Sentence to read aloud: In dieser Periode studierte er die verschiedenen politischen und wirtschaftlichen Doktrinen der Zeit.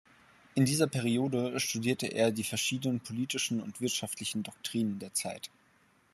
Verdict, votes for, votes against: accepted, 2, 0